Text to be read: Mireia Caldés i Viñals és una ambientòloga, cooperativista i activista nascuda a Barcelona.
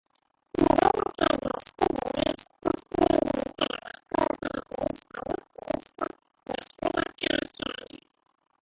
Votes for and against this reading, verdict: 0, 2, rejected